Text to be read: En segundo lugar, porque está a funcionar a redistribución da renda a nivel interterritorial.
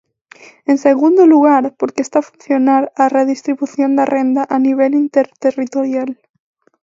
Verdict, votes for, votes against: accepted, 2, 0